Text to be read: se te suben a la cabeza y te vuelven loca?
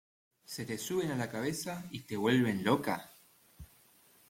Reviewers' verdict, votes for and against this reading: accepted, 2, 0